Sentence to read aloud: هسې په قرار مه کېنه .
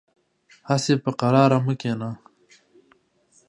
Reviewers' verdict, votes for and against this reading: accepted, 2, 0